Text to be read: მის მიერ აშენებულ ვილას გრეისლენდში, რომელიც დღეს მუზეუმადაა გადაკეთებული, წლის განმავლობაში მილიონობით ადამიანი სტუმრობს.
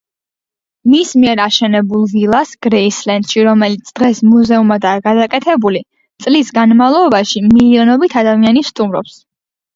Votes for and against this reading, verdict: 2, 1, accepted